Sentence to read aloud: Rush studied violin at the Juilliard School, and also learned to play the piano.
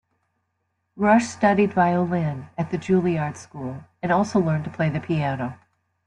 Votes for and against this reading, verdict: 2, 0, accepted